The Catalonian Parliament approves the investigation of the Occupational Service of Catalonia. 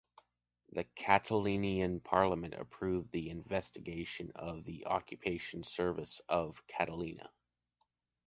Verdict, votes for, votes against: rejected, 1, 2